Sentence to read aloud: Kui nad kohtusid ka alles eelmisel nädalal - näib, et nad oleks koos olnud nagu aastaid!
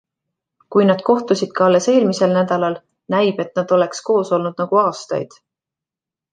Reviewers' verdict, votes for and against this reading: rejected, 1, 2